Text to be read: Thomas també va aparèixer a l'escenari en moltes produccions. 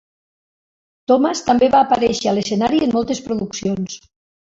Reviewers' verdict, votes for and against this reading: rejected, 1, 2